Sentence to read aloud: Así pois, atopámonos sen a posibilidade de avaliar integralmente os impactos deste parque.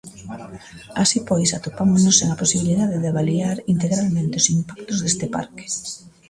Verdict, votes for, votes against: rejected, 0, 2